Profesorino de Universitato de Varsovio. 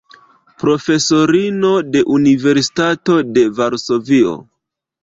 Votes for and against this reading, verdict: 0, 2, rejected